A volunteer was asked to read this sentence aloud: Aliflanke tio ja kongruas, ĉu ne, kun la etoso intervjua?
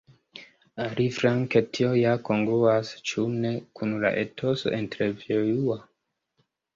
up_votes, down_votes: 0, 2